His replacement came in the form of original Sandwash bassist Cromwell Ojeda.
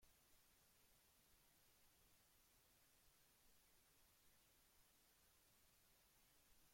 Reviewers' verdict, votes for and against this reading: rejected, 0, 2